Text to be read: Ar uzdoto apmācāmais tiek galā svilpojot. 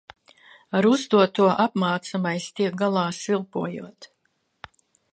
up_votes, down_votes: 1, 2